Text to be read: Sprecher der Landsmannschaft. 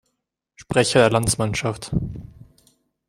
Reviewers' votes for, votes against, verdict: 0, 2, rejected